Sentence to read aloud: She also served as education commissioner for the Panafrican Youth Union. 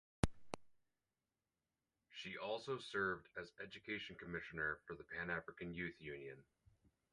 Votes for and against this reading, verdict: 4, 0, accepted